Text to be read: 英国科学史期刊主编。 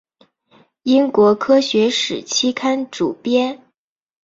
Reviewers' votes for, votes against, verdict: 5, 0, accepted